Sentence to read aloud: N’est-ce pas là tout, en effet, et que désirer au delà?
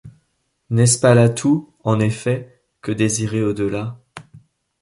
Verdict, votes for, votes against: rejected, 2, 3